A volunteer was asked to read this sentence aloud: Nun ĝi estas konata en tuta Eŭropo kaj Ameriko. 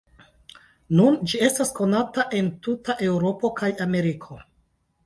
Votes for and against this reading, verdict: 2, 0, accepted